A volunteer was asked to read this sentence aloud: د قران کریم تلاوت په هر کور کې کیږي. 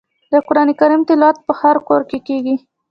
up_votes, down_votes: 0, 2